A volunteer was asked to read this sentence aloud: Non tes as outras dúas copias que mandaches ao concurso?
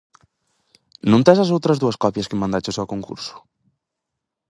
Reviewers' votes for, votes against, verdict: 4, 0, accepted